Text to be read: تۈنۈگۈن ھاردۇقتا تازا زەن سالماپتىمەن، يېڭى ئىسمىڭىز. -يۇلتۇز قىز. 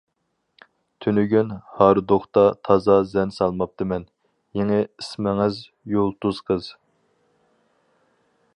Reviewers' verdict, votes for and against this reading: accepted, 4, 0